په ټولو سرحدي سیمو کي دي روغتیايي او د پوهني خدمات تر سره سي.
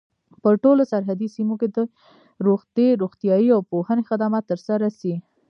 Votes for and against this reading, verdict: 0, 2, rejected